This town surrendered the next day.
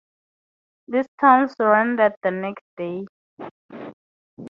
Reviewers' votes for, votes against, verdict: 4, 0, accepted